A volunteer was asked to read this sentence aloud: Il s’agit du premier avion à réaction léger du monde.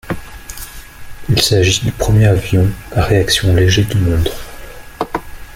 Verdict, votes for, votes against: rejected, 1, 2